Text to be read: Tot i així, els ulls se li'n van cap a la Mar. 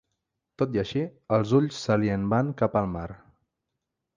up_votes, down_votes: 0, 2